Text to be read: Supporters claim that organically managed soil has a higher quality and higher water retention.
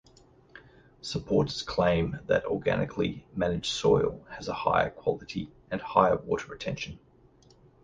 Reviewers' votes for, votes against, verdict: 2, 0, accepted